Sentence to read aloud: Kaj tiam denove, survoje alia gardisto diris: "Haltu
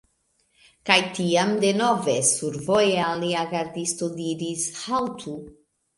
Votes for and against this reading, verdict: 2, 0, accepted